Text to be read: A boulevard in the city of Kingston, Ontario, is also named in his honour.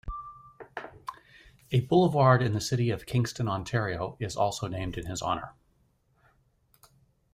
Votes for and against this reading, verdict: 2, 0, accepted